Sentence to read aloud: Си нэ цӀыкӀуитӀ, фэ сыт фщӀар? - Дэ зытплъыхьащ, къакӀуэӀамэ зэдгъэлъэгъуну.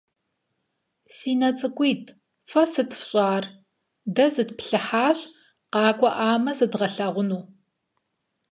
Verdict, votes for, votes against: accepted, 4, 0